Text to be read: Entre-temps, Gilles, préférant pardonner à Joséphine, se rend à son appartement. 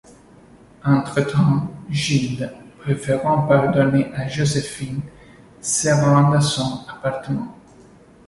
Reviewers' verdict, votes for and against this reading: accepted, 2, 0